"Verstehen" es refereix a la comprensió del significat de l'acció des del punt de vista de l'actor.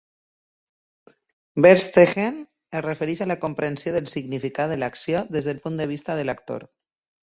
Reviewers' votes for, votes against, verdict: 2, 0, accepted